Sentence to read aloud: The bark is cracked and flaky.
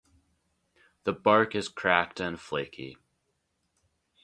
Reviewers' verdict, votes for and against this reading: accepted, 2, 0